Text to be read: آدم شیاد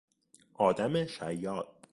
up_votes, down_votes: 2, 0